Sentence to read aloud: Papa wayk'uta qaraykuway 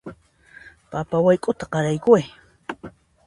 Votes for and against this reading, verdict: 2, 0, accepted